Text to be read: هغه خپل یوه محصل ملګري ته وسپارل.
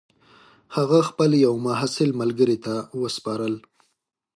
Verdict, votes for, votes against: accepted, 2, 0